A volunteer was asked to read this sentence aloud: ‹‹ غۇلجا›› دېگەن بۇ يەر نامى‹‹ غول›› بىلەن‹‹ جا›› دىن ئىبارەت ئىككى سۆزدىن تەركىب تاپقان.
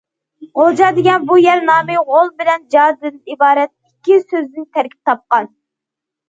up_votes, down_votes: 1, 2